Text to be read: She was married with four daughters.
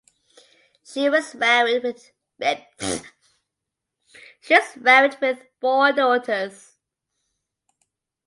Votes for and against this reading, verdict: 0, 2, rejected